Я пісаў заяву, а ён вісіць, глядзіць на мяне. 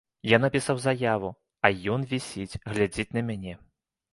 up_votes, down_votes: 0, 2